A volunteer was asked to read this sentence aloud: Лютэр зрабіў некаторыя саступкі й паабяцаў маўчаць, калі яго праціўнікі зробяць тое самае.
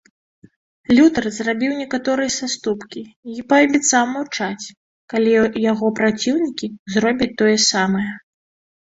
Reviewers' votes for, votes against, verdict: 2, 3, rejected